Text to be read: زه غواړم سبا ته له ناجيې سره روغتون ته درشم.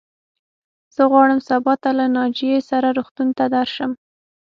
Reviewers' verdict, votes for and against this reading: accepted, 6, 0